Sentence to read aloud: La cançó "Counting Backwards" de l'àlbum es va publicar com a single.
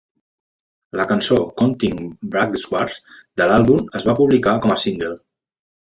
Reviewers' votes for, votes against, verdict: 0, 2, rejected